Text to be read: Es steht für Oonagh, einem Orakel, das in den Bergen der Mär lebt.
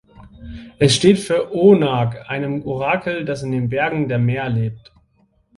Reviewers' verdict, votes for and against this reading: rejected, 0, 2